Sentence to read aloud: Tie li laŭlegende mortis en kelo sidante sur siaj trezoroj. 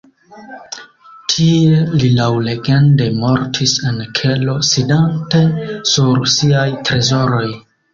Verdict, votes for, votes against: accepted, 2, 1